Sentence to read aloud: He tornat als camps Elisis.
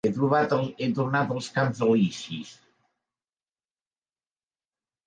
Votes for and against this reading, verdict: 0, 2, rejected